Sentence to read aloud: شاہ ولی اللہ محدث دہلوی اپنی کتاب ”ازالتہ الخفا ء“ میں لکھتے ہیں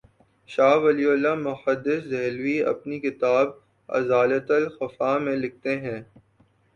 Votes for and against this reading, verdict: 2, 1, accepted